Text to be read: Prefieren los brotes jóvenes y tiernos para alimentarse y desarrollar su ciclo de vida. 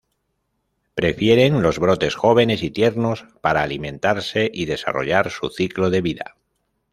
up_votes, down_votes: 2, 0